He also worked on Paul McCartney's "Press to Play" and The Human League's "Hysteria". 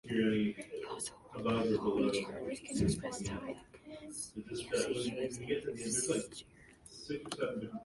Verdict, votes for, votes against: rejected, 1, 2